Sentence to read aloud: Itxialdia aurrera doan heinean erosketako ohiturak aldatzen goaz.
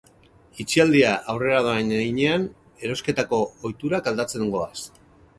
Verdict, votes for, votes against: accepted, 4, 0